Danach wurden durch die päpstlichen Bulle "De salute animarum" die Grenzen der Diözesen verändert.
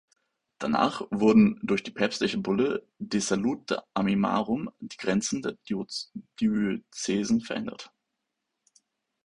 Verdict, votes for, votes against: rejected, 0, 2